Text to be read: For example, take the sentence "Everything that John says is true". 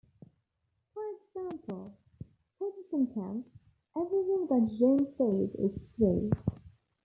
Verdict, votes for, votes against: accepted, 2, 1